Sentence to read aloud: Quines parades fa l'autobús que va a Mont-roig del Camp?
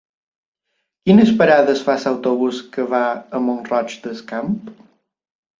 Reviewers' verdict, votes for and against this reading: rejected, 1, 2